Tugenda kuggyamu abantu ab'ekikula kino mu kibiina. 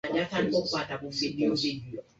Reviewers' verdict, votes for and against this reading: rejected, 0, 2